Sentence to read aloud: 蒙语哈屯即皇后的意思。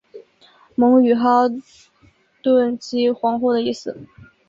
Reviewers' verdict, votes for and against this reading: rejected, 2, 2